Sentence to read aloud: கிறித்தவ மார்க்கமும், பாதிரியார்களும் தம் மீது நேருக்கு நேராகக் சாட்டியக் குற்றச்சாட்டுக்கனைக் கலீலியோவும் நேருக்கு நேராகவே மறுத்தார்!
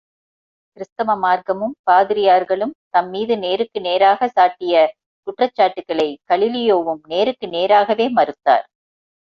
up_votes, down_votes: 1, 2